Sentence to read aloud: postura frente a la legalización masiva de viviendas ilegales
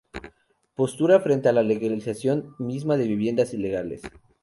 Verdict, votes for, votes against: rejected, 0, 2